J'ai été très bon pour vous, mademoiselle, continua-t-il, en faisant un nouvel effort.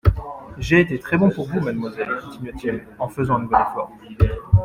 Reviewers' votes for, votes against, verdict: 1, 2, rejected